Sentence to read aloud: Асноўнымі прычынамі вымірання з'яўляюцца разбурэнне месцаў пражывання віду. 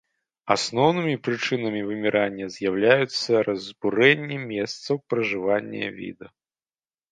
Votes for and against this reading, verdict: 2, 0, accepted